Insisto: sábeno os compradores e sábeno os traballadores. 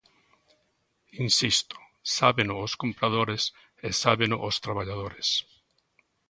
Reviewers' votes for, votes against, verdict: 2, 0, accepted